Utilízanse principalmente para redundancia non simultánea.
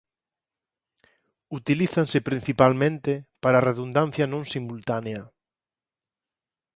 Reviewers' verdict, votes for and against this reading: accepted, 4, 2